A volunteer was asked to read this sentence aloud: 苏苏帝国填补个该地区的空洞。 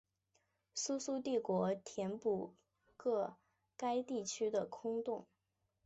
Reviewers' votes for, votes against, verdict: 2, 0, accepted